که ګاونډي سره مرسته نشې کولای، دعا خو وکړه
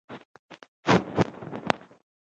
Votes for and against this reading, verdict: 1, 2, rejected